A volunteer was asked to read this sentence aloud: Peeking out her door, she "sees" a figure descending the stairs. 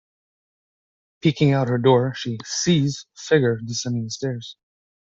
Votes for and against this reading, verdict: 1, 2, rejected